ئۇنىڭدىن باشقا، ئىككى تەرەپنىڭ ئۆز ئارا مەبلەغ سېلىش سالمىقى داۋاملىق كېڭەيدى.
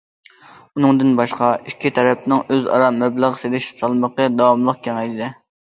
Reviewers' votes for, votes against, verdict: 2, 0, accepted